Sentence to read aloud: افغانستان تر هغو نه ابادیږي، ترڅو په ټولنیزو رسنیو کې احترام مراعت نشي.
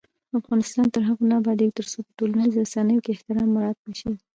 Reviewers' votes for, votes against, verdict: 1, 2, rejected